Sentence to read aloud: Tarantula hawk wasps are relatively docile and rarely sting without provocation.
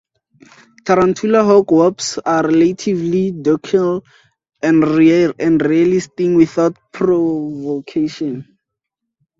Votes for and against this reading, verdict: 0, 2, rejected